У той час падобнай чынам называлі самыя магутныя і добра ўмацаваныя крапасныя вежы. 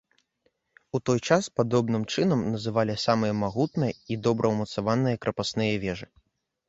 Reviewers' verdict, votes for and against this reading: rejected, 0, 2